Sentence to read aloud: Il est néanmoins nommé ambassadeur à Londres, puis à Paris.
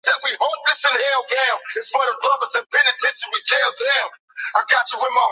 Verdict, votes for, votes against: rejected, 0, 2